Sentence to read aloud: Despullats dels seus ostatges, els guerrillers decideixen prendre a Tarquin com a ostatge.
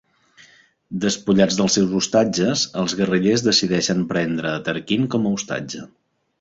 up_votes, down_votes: 2, 0